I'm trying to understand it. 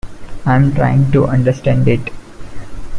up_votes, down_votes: 2, 0